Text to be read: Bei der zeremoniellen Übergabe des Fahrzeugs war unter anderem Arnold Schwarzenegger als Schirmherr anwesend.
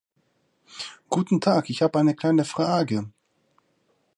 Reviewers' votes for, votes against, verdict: 0, 2, rejected